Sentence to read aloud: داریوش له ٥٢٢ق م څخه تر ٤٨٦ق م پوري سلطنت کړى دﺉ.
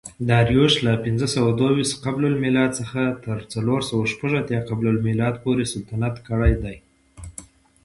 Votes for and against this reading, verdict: 0, 2, rejected